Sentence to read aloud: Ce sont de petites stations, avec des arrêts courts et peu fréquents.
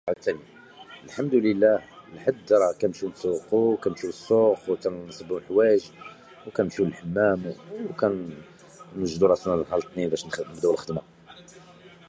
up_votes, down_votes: 0, 2